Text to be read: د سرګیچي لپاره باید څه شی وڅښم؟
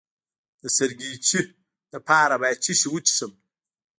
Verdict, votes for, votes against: accepted, 2, 0